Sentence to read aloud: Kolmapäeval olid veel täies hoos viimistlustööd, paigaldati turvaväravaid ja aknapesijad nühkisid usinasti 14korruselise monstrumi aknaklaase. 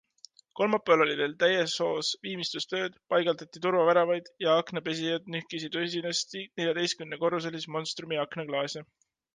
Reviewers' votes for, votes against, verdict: 0, 2, rejected